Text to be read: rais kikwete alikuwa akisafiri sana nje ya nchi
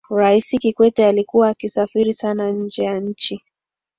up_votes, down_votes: 15, 0